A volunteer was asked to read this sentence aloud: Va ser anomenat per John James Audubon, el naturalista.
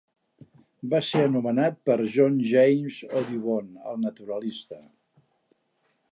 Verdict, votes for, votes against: accepted, 5, 0